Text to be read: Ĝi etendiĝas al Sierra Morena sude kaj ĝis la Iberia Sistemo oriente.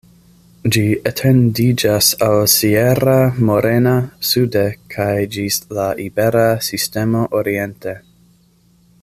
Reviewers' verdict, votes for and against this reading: rejected, 1, 2